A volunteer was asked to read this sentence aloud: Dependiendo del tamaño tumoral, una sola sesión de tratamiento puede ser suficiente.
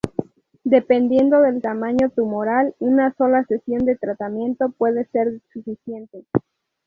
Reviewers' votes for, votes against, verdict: 2, 0, accepted